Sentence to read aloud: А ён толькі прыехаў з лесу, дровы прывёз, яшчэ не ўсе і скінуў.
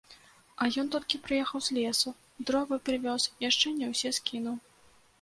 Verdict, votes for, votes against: rejected, 1, 2